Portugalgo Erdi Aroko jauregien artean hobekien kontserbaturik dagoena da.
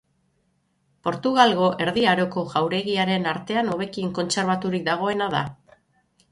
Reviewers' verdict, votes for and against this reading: rejected, 0, 6